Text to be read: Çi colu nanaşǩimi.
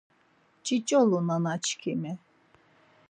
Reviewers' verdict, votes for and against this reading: rejected, 2, 4